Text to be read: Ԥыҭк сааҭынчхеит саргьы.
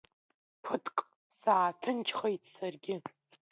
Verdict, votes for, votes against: accepted, 2, 0